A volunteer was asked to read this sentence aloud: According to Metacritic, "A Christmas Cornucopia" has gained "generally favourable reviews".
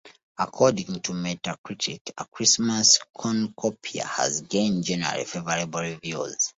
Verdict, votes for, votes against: accepted, 2, 0